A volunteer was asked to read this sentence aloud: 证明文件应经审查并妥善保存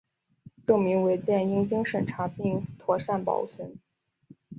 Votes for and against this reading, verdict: 2, 0, accepted